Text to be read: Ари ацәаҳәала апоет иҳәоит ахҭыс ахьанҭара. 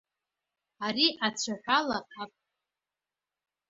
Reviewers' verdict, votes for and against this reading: rejected, 0, 2